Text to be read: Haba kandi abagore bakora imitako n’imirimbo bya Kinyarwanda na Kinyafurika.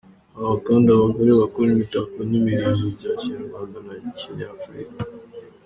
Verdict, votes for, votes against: accepted, 2, 1